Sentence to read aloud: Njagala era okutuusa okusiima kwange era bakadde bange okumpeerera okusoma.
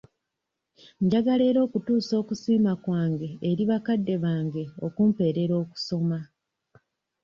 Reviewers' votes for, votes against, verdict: 1, 2, rejected